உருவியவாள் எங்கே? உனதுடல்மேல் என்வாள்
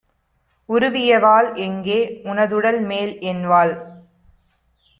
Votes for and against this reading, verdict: 2, 0, accepted